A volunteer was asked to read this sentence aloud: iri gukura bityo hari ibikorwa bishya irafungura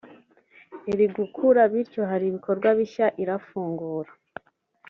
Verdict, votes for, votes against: accepted, 2, 0